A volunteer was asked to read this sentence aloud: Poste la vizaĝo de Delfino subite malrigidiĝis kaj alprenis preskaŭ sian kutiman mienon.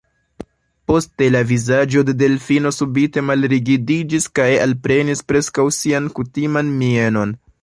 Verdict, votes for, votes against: rejected, 1, 2